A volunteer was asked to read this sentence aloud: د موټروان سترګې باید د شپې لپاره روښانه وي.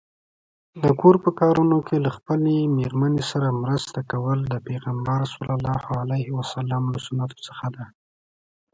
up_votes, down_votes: 1, 2